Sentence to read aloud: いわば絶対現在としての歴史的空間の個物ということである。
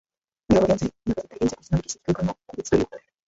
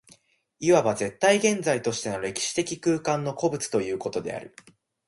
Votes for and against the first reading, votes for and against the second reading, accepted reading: 0, 2, 2, 0, second